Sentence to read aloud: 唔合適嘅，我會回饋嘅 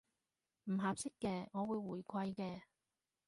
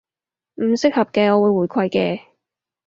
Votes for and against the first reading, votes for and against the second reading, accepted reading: 2, 0, 2, 2, first